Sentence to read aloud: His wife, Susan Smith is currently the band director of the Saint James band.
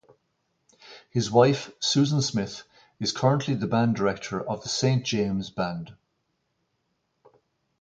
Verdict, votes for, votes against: accepted, 2, 0